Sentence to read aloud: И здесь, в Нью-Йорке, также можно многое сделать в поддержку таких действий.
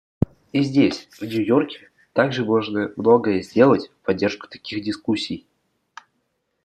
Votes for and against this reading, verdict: 1, 2, rejected